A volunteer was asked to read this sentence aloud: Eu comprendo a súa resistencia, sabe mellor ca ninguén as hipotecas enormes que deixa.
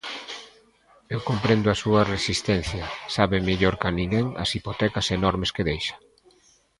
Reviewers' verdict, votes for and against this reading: accepted, 2, 0